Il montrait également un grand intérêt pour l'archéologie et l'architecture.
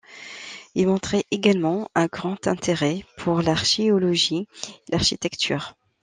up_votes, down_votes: 0, 2